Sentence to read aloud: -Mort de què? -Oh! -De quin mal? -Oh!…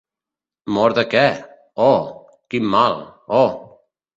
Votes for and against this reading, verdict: 1, 2, rejected